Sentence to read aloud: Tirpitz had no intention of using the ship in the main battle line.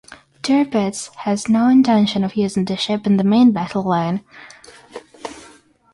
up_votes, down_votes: 0, 6